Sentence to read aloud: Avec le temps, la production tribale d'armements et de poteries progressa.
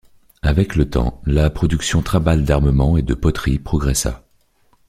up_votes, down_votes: 1, 2